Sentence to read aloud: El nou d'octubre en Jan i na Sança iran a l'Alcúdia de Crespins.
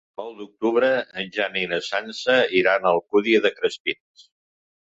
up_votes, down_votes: 1, 2